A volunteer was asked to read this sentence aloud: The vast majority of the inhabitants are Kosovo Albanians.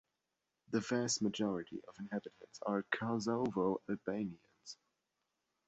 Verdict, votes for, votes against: accepted, 2, 0